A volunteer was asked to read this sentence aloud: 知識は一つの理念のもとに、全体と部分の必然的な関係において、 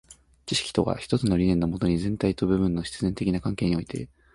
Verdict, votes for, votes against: rejected, 1, 2